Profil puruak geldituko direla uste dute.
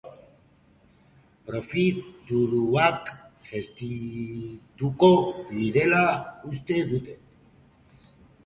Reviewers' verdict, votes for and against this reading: rejected, 0, 2